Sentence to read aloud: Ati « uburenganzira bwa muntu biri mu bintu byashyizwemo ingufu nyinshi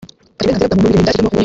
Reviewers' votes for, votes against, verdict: 0, 3, rejected